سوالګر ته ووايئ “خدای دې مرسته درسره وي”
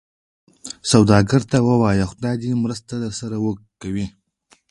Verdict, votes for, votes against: rejected, 1, 2